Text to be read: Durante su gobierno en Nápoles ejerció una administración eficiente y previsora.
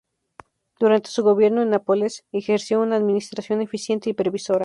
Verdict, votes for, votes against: rejected, 2, 2